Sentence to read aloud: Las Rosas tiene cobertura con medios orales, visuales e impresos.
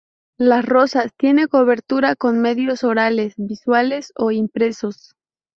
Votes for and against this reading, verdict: 0, 2, rejected